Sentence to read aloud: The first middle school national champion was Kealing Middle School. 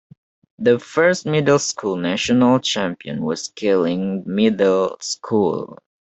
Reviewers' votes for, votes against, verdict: 2, 0, accepted